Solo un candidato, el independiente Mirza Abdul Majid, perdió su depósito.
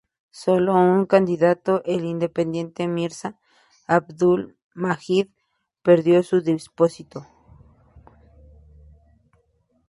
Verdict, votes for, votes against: rejected, 0, 2